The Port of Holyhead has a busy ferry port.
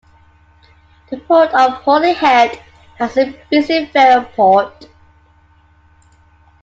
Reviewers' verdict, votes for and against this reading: accepted, 2, 0